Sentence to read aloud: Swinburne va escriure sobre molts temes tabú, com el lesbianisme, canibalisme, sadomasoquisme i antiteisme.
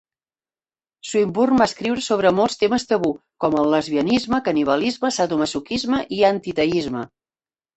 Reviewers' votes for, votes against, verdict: 2, 1, accepted